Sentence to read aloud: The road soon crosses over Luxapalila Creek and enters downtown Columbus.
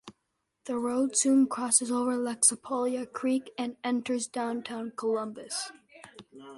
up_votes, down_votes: 1, 2